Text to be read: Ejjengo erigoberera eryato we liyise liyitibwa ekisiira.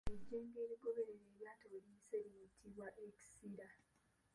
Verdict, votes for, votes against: rejected, 0, 2